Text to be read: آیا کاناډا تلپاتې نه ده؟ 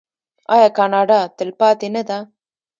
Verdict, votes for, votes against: rejected, 0, 2